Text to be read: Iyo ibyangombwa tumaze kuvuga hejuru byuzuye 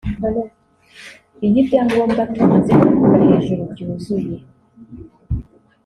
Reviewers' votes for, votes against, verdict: 2, 1, accepted